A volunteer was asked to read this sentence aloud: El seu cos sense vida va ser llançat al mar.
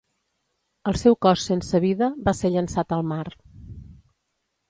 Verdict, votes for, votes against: accepted, 2, 0